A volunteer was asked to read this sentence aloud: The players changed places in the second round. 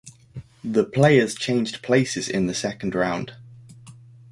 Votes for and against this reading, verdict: 1, 2, rejected